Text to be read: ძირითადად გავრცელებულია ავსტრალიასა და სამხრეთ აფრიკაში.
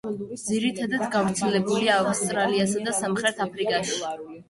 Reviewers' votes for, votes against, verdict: 1, 2, rejected